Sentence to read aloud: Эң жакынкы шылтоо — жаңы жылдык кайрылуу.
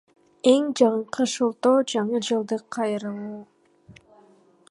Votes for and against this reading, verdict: 1, 2, rejected